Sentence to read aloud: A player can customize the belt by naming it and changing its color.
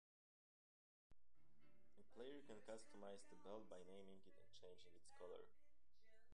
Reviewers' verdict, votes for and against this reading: rejected, 1, 2